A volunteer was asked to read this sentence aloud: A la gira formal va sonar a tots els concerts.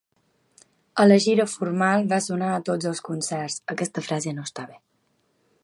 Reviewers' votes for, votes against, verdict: 0, 2, rejected